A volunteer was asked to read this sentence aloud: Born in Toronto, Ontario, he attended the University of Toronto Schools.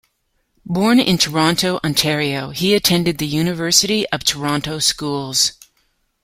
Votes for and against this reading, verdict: 2, 0, accepted